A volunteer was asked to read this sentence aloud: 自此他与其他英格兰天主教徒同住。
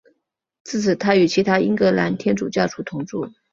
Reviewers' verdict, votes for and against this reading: accepted, 3, 0